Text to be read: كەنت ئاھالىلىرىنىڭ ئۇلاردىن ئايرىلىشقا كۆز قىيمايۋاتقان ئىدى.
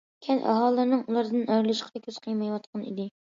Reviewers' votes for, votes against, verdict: 2, 0, accepted